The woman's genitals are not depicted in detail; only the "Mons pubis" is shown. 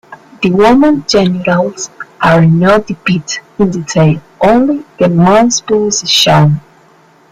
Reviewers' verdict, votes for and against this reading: rejected, 0, 2